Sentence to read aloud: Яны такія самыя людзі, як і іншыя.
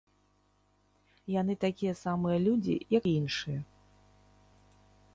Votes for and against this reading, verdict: 0, 2, rejected